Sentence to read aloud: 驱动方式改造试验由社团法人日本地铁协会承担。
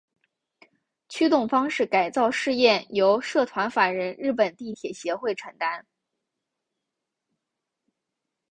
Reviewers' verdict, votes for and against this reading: rejected, 1, 2